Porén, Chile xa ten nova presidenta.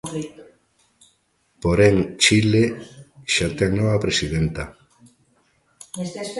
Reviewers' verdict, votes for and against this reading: rejected, 1, 2